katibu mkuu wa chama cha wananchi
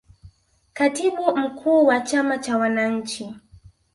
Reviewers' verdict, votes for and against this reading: accepted, 4, 0